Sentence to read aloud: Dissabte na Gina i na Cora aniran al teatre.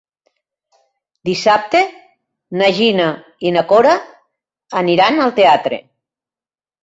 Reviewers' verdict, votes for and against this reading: accepted, 2, 0